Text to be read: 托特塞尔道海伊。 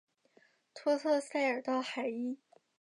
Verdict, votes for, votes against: rejected, 0, 2